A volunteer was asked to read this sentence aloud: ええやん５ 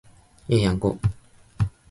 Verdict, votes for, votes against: rejected, 0, 2